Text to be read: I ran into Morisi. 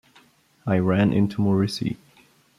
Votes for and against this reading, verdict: 2, 0, accepted